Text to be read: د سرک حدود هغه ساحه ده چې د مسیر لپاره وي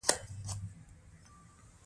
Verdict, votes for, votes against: rejected, 0, 2